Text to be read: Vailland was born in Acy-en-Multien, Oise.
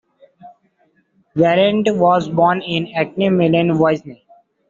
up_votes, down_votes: 1, 2